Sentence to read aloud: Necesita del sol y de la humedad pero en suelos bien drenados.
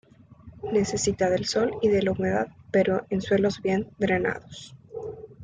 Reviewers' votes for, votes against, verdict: 2, 1, accepted